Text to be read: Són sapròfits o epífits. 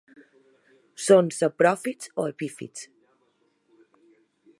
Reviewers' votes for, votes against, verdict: 2, 0, accepted